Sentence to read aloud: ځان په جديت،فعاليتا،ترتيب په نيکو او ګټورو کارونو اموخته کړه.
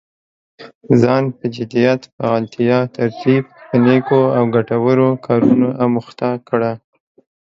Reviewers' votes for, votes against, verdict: 2, 0, accepted